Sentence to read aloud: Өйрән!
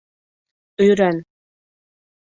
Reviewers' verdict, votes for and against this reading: accepted, 3, 0